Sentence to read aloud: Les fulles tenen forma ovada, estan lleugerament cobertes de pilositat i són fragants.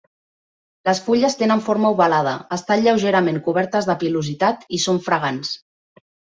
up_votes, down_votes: 1, 2